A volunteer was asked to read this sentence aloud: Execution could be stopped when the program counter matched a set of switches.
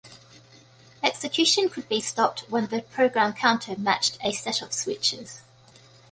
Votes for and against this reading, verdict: 2, 0, accepted